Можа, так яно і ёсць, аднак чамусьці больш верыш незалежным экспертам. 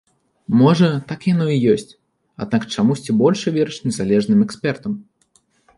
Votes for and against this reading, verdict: 1, 2, rejected